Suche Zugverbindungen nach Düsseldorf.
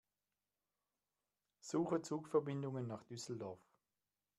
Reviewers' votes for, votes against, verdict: 2, 0, accepted